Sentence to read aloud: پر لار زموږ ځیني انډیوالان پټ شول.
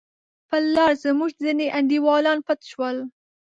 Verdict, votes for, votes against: accepted, 2, 0